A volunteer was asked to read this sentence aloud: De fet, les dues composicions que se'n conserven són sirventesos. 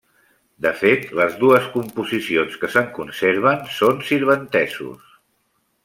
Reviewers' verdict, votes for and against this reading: rejected, 0, 2